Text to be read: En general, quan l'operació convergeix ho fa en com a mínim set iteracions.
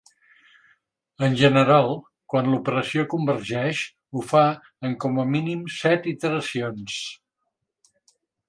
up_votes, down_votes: 3, 0